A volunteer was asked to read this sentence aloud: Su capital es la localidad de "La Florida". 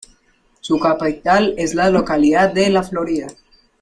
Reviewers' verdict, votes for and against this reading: rejected, 1, 2